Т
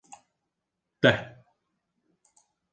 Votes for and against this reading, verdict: 1, 2, rejected